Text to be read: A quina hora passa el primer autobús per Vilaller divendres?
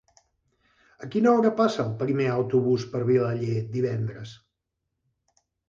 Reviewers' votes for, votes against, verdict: 3, 1, accepted